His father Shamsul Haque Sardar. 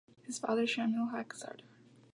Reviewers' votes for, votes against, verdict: 0, 2, rejected